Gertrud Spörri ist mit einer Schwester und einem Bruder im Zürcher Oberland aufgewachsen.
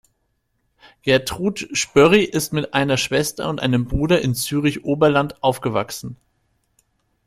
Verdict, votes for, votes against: rejected, 0, 2